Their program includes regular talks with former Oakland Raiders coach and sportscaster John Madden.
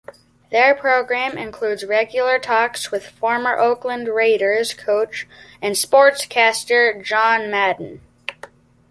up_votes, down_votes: 2, 0